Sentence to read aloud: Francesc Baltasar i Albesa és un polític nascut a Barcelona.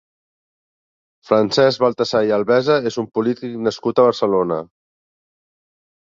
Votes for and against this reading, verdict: 2, 1, accepted